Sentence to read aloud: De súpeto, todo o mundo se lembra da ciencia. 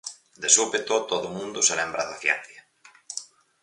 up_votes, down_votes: 6, 0